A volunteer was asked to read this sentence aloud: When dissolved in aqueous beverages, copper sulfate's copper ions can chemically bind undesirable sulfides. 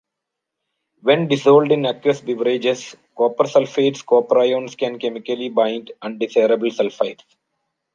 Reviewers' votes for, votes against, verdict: 1, 2, rejected